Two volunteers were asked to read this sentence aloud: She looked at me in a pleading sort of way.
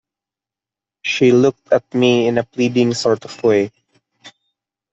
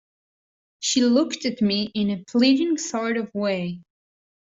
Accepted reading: second